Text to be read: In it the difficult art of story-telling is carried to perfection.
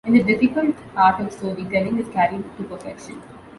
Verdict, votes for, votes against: rejected, 1, 2